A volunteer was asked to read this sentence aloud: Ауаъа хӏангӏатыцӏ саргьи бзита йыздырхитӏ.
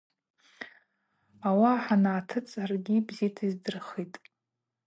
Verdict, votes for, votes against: accepted, 2, 0